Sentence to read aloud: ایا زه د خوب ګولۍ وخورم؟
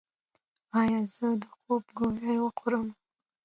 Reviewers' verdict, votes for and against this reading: accepted, 2, 0